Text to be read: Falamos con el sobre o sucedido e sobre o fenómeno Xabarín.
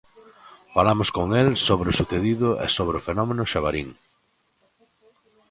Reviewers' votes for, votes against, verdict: 2, 0, accepted